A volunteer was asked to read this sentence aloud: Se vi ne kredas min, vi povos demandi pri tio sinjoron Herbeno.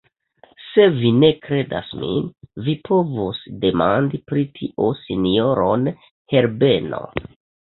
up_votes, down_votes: 1, 2